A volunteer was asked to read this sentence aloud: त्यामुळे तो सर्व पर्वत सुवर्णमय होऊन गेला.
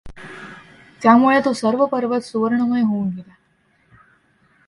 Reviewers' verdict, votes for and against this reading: accepted, 2, 0